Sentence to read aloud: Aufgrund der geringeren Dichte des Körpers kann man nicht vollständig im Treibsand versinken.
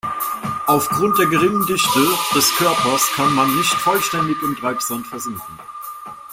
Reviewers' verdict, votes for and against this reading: rejected, 0, 2